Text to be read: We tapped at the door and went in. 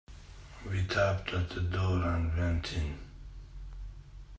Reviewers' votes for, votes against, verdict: 2, 0, accepted